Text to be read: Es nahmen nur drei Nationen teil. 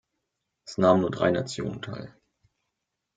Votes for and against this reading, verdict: 1, 2, rejected